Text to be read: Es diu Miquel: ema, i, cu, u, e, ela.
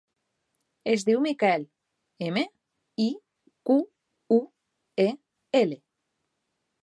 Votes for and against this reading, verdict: 0, 2, rejected